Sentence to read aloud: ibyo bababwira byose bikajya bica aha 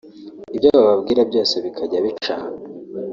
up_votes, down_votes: 1, 2